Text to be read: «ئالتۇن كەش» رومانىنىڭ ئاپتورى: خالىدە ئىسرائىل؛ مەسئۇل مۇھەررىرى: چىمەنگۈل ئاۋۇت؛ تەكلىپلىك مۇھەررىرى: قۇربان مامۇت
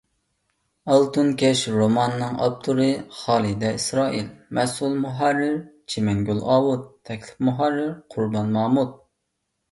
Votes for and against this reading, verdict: 1, 2, rejected